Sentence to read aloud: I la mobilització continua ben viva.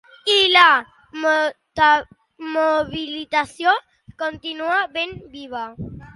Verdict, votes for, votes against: rejected, 0, 2